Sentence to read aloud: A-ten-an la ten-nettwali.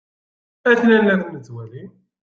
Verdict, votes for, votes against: rejected, 0, 2